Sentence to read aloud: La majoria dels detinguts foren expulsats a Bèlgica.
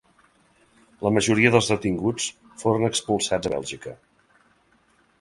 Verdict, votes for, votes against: accepted, 3, 0